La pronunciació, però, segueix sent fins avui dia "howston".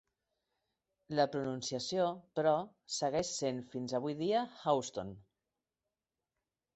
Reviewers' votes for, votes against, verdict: 3, 2, accepted